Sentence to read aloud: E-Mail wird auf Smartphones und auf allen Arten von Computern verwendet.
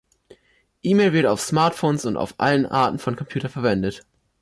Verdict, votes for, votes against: rejected, 1, 2